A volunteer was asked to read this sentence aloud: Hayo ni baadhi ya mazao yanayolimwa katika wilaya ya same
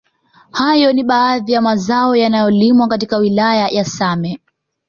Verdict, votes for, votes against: accepted, 2, 0